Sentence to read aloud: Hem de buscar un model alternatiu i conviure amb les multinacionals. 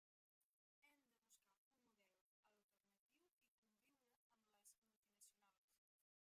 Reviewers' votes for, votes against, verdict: 0, 2, rejected